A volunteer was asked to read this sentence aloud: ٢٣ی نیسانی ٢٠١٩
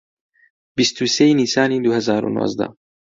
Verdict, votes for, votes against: rejected, 0, 2